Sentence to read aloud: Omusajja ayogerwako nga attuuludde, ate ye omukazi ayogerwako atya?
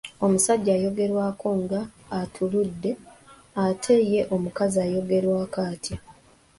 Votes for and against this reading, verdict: 0, 2, rejected